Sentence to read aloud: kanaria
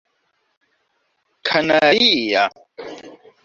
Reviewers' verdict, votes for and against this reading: rejected, 1, 2